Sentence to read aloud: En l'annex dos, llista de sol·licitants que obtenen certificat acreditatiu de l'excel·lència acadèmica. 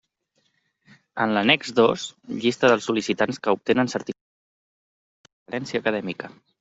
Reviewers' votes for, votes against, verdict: 0, 2, rejected